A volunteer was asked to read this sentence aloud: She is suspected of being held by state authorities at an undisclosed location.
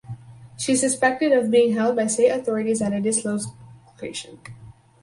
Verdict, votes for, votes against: rejected, 0, 4